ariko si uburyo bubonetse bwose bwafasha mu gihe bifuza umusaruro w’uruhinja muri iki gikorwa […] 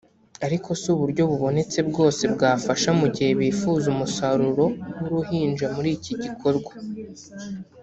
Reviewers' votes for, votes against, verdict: 3, 0, accepted